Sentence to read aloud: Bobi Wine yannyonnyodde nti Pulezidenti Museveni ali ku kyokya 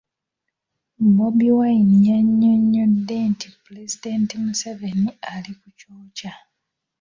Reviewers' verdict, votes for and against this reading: rejected, 0, 2